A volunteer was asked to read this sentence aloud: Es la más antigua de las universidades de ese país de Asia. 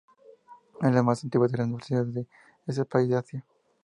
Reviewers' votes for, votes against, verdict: 2, 0, accepted